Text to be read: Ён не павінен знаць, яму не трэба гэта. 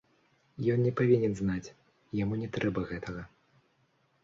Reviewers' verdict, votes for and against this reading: rejected, 1, 2